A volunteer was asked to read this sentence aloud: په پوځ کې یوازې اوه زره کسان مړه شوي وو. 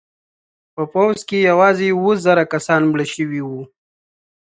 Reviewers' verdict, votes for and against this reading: accepted, 2, 0